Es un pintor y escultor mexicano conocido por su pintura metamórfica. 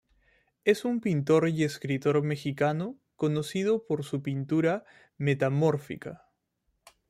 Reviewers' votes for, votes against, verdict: 1, 2, rejected